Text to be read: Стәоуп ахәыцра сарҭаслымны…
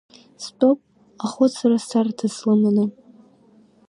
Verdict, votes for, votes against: rejected, 1, 2